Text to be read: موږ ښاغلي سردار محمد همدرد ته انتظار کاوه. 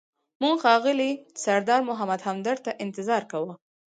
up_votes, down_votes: 2, 4